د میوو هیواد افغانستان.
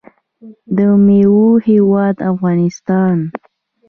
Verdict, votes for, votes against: rejected, 0, 2